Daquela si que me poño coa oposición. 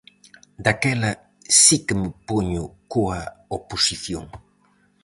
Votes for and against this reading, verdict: 4, 0, accepted